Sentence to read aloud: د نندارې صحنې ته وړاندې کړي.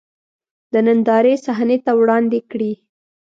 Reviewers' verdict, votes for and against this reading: accepted, 2, 0